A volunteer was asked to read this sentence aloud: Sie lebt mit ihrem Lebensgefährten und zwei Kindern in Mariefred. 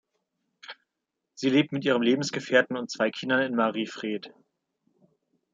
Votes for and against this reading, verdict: 2, 0, accepted